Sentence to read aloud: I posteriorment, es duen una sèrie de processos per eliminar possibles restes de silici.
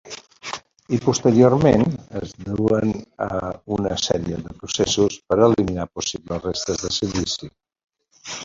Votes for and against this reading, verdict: 1, 2, rejected